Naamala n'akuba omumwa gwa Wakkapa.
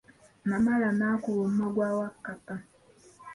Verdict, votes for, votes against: rejected, 1, 2